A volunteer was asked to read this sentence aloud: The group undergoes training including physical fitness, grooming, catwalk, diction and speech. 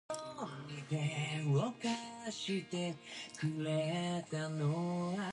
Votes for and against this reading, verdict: 0, 2, rejected